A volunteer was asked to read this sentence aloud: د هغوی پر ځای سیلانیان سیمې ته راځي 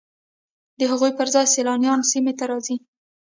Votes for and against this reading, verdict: 1, 2, rejected